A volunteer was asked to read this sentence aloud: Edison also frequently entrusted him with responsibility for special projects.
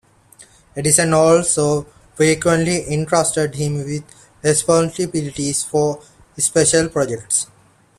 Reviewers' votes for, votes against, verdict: 2, 0, accepted